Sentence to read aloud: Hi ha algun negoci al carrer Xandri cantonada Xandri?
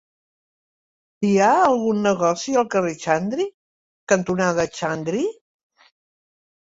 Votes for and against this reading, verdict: 2, 0, accepted